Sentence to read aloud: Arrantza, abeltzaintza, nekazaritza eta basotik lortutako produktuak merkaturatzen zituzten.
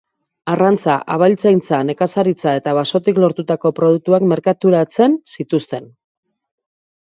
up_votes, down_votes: 3, 0